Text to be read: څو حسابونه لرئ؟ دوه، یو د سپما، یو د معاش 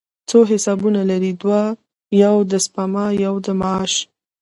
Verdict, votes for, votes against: accepted, 2, 0